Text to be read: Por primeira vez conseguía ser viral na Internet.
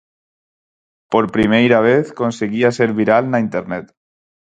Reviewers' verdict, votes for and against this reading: accepted, 4, 0